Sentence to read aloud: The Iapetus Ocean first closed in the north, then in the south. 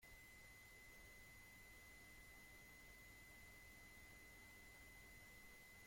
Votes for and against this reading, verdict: 0, 2, rejected